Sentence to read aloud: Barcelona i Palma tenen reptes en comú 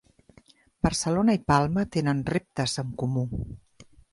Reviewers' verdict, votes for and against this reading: accepted, 2, 0